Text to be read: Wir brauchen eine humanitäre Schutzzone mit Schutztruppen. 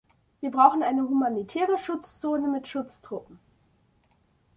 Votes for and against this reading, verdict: 2, 0, accepted